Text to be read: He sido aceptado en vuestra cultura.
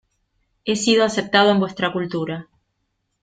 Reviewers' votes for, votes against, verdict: 2, 0, accepted